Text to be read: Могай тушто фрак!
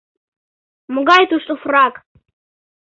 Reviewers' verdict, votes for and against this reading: accepted, 2, 0